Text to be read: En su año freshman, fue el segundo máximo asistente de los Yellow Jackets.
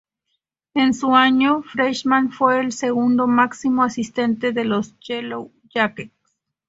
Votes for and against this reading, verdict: 6, 0, accepted